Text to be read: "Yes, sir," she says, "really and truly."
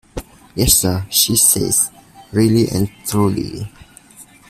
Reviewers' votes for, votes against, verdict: 1, 2, rejected